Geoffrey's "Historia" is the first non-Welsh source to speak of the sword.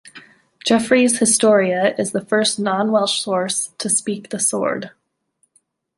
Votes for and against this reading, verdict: 0, 2, rejected